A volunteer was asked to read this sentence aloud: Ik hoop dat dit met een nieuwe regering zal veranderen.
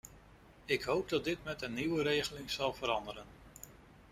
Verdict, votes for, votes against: rejected, 0, 2